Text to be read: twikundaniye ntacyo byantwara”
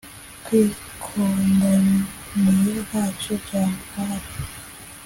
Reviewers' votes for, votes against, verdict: 2, 0, accepted